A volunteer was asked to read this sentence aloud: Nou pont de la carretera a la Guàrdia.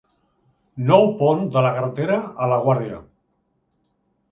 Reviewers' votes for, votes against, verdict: 2, 0, accepted